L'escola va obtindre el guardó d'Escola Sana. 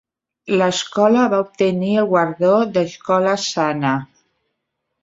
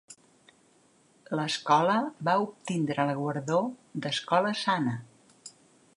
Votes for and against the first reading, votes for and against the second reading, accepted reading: 0, 2, 2, 0, second